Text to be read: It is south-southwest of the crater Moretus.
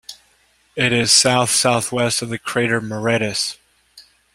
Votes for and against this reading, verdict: 2, 0, accepted